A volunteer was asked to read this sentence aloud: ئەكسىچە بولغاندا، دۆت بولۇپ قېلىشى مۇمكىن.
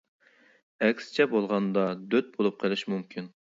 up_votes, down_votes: 2, 0